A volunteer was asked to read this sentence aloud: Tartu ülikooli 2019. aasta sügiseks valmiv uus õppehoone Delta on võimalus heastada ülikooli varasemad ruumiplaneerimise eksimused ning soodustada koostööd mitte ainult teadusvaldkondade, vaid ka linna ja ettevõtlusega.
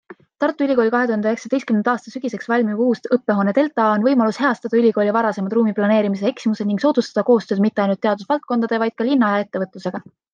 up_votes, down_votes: 0, 2